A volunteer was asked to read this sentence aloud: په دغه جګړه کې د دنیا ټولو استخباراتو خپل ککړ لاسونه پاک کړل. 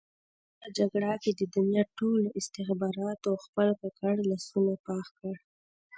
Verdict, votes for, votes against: accepted, 2, 0